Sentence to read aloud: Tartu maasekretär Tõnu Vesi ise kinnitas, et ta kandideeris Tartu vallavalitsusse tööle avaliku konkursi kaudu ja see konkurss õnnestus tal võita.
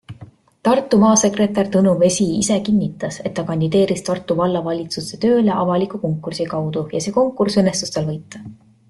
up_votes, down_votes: 2, 0